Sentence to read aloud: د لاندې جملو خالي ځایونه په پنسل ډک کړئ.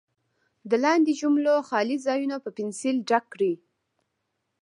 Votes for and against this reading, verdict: 2, 1, accepted